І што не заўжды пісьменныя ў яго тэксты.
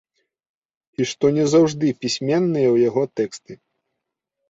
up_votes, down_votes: 2, 0